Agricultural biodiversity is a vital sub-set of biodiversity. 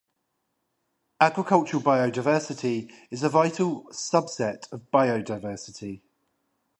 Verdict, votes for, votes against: rejected, 5, 5